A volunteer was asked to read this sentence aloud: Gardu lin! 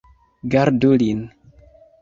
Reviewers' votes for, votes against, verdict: 2, 1, accepted